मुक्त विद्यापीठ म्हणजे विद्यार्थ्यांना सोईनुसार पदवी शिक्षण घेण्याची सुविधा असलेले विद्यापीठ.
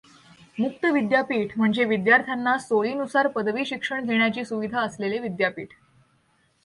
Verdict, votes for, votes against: accepted, 2, 0